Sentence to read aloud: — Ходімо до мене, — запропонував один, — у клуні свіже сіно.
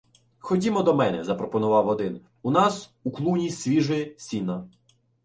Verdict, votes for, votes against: rejected, 0, 2